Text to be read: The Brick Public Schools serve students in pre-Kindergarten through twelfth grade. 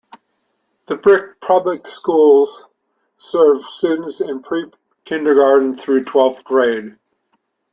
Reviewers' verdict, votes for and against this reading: accepted, 2, 0